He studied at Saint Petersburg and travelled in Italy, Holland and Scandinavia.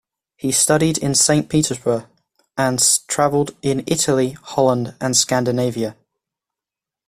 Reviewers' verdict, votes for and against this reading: accepted, 2, 0